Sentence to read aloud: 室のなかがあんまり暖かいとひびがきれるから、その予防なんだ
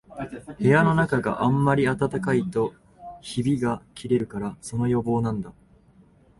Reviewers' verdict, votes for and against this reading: accepted, 2, 0